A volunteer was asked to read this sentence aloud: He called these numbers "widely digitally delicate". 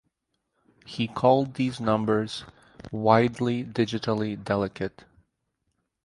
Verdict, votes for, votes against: accepted, 4, 0